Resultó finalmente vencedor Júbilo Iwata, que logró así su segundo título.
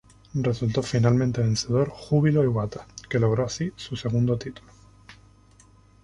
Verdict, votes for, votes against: rejected, 2, 2